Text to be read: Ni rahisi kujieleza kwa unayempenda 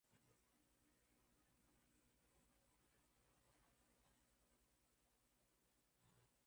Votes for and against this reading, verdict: 1, 3, rejected